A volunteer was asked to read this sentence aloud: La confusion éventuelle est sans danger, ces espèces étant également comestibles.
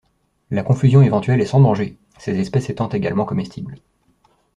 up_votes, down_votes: 2, 0